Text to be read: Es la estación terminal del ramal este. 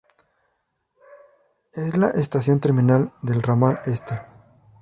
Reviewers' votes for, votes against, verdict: 0, 2, rejected